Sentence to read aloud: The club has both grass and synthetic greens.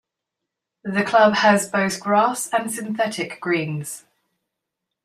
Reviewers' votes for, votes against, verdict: 2, 0, accepted